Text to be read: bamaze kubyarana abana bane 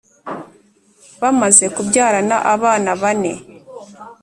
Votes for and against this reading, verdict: 2, 0, accepted